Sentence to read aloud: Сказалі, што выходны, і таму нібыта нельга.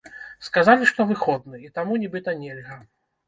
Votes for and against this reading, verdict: 2, 0, accepted